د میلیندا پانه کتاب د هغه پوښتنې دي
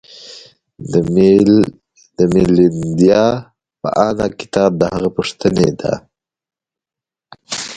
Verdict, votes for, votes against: rejected, 1, 2